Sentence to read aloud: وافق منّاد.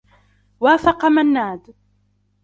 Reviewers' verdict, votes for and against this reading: rejected, 0, 2